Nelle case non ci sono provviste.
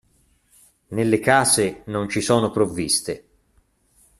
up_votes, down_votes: 2, 0